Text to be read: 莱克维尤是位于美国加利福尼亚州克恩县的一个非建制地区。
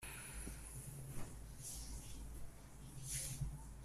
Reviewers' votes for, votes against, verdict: 1, 2, rejected